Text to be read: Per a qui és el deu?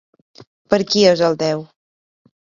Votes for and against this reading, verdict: 2, 1, accepted